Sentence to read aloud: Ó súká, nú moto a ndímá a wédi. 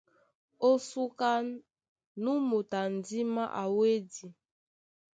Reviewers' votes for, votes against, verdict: 2, 0, accepted